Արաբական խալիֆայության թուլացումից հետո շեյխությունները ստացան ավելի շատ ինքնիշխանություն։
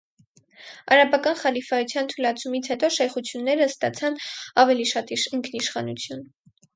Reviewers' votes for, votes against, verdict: 2, 4, rejected